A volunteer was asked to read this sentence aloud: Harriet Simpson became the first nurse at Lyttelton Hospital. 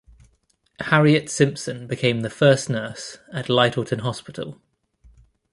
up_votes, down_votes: 0, 2